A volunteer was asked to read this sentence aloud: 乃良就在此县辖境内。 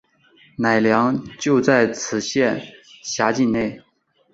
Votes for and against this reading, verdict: 3, 1, accepted